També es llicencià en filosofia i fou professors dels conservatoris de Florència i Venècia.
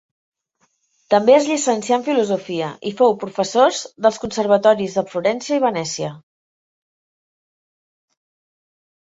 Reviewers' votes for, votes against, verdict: 3, 0, accepted